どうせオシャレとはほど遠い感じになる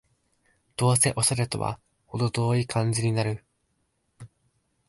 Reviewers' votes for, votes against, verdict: 3, 0, accepted